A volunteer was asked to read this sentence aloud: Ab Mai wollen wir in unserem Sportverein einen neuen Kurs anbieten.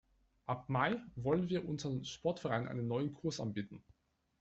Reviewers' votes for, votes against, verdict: 1, 2, rejected